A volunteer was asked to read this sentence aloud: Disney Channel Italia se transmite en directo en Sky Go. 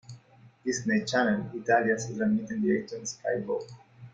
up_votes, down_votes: 2, 0